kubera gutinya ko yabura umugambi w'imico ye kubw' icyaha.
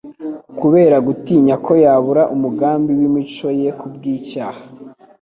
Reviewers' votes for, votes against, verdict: 2, 0, accepted